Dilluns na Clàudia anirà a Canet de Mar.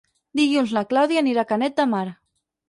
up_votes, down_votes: 2, 6